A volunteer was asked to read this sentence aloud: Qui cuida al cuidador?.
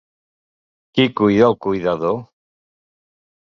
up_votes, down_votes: 2, 0